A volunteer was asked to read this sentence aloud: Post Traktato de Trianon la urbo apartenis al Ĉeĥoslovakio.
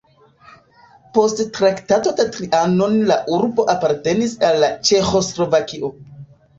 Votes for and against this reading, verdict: 1, 2, rejected